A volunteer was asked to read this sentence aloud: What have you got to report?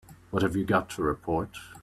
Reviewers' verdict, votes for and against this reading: accepted, 2, 0